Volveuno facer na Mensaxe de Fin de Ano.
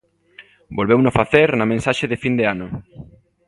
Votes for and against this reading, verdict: 2, 0, accepted